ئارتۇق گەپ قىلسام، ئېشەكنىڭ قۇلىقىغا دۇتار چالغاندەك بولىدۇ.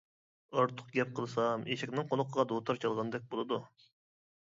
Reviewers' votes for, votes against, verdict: 2, 0, accepted